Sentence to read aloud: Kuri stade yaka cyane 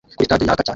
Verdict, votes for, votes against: rejected, 0, 3